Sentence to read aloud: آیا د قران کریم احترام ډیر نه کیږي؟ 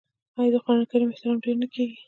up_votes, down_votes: 0, 2